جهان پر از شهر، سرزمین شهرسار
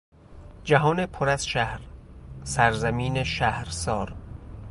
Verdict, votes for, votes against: accepted, 2, 0